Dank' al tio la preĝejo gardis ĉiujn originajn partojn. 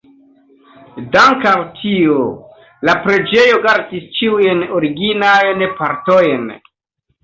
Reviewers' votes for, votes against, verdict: 2, 1, accepted